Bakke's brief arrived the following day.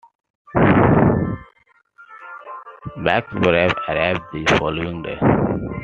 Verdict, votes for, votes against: rejected, 0, 2